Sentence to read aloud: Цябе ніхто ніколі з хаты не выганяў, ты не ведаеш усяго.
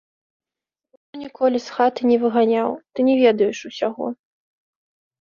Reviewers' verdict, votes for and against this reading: rejected, 0, 3